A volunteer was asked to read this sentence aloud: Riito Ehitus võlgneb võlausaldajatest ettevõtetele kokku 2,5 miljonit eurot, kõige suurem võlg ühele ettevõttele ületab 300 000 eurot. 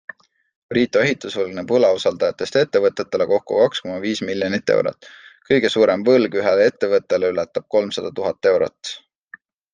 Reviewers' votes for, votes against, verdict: 0, 2, rejected